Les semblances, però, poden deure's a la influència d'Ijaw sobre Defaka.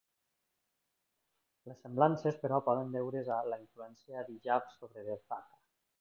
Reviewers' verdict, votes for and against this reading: rejected, 0, 2